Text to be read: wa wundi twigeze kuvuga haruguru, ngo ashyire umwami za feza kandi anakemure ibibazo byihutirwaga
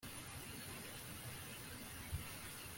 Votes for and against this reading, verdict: 0, 2, rejected